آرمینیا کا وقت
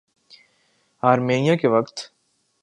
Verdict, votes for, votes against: rejected, 1, 3